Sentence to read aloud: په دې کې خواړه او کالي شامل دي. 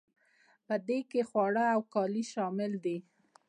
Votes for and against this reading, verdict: 2, 0, accepted